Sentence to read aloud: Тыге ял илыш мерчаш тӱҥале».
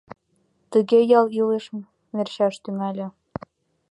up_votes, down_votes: 2, 0